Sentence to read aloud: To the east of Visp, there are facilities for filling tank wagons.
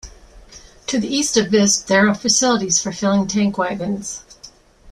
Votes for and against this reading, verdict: 2, 0, accepted